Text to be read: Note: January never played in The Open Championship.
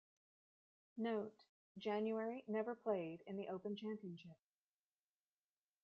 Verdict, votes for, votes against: rejected, 1, 2